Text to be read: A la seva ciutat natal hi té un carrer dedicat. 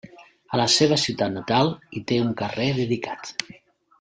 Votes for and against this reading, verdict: 3, 0, accepted